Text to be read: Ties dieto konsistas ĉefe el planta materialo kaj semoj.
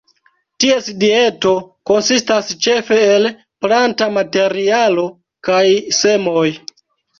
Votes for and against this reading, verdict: 2, 0, accepted